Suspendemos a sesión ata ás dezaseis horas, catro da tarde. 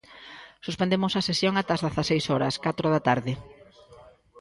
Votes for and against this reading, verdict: 1, 2, rejected